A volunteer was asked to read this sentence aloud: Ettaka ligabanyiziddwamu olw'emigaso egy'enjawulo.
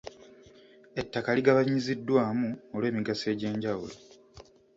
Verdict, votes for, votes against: accepted, 2, 0